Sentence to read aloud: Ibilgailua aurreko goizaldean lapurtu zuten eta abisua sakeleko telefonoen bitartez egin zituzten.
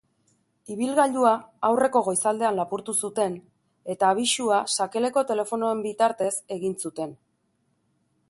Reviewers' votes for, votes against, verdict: 1, 2, rejected